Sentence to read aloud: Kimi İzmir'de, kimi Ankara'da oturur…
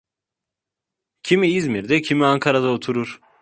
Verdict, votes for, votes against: accepted, 2, 0